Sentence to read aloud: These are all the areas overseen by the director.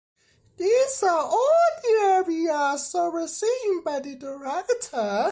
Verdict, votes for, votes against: rejected, 0, 2